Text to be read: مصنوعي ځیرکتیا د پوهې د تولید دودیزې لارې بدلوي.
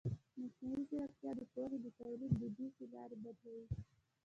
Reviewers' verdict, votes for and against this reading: rejected, 0, 2